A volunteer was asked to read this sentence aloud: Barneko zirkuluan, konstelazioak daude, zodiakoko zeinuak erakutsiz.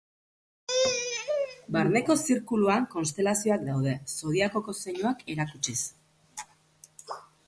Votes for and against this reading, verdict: 2, 6, rejected